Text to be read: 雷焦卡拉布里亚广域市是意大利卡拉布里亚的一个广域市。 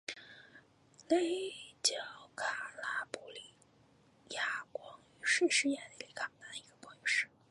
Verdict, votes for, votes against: accepted, 2, 0